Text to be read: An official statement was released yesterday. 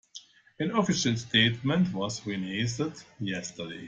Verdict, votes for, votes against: rejected, 2, 3